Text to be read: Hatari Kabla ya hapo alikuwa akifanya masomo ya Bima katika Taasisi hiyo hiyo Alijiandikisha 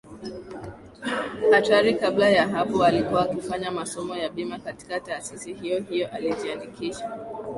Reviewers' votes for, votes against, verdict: 2, 0, accepted